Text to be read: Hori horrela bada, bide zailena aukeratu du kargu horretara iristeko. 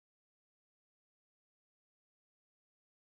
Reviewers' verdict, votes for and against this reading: rejected, 0, 2